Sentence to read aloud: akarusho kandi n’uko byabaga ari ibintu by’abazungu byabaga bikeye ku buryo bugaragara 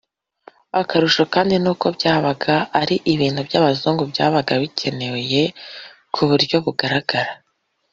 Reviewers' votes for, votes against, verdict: 2, 0, accepted